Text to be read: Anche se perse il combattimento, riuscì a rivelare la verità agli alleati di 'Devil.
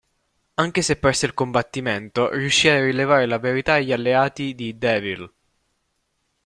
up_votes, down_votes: 0, 2